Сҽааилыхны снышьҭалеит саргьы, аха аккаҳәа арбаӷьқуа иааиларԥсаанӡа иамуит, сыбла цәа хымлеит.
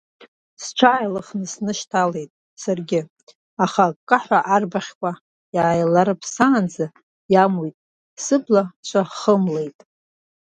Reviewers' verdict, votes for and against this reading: accepted, 2, 0